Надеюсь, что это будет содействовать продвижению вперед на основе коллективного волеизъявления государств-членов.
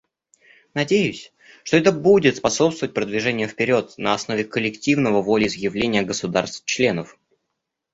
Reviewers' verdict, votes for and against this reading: rejected, 0, 2